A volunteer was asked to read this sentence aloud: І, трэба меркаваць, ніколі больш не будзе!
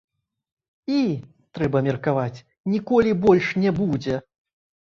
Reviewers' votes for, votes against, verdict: 0, 2, rejected